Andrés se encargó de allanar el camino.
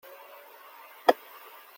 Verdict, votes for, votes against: rejected, 0, 2